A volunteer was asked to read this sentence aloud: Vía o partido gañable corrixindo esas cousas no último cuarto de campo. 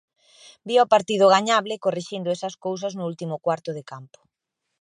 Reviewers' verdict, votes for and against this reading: accepted, 2, 0